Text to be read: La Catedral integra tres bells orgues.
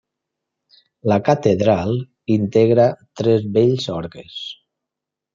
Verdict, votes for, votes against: accepted, 2, 0